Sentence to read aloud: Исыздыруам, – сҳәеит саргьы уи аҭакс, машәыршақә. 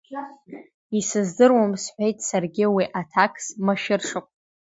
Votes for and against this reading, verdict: 2, 0, accepted